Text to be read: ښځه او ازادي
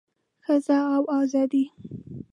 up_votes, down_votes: 2, 0